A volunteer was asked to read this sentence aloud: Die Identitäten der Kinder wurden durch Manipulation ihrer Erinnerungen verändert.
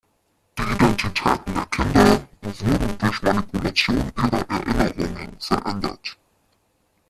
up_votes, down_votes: 0, 2